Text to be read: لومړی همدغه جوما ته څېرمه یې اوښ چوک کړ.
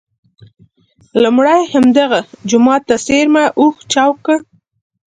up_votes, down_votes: 3, 0